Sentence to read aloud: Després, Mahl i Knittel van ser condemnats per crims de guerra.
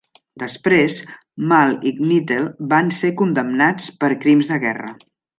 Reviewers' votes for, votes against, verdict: 2, 0, accepted